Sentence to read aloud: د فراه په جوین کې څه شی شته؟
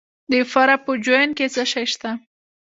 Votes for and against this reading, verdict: 2, 0, accepted